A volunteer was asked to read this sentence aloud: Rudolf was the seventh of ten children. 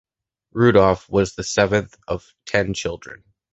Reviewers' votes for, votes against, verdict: 2, 0, accepted